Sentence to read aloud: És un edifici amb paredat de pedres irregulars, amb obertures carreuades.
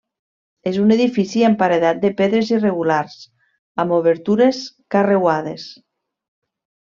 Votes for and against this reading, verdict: 2, 0, accepted